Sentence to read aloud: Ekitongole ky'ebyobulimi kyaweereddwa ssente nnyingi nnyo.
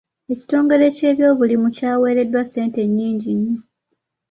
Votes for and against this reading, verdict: 0, 2, rejected